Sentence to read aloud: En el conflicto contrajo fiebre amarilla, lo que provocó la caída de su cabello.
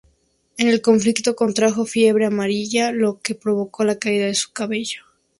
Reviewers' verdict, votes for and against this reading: accepted, 2, 0